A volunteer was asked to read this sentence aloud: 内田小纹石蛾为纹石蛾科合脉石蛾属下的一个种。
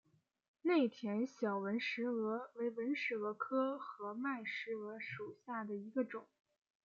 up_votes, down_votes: 2, 0